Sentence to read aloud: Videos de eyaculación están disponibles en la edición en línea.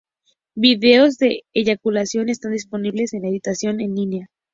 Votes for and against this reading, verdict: 0, 2, rejected